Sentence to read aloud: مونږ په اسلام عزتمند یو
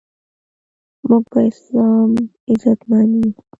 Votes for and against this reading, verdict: 1, 2, rejected